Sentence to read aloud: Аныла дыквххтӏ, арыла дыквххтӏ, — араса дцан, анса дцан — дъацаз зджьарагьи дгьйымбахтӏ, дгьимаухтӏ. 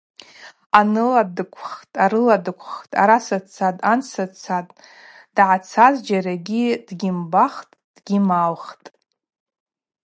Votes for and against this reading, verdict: 2, 0, accepted